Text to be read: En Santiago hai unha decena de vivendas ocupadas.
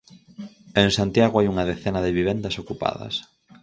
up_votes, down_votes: 4, 0